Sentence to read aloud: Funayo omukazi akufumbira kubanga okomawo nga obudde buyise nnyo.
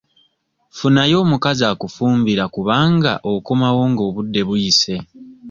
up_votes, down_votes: 2, 1